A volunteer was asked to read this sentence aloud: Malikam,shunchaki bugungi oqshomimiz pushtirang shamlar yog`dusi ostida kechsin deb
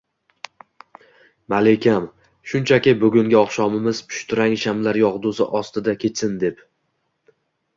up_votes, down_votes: 0, 2